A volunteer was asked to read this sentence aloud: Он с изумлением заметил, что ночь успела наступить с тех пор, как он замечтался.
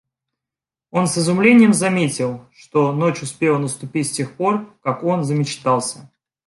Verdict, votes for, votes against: accepted, 2, 0